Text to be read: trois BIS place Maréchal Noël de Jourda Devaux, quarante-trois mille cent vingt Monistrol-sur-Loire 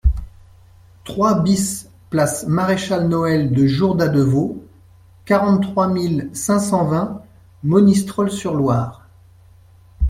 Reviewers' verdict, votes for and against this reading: rejected, 1, 2